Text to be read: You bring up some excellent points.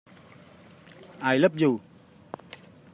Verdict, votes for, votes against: rejected, 0, 2